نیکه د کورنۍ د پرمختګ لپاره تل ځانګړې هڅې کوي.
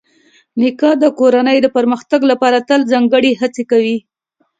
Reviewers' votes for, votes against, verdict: 2, 0, accepted